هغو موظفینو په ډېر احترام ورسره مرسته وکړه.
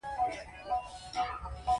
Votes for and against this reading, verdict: 2, 1, accepted